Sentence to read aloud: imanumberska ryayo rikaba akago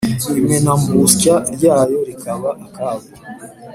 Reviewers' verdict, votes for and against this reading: rejected, 0, 3